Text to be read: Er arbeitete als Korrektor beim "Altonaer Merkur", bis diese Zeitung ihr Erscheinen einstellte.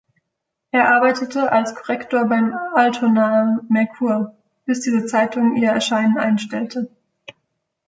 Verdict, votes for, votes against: rejected, 1, 2